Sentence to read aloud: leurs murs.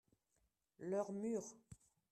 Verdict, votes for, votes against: accepted, 2, 0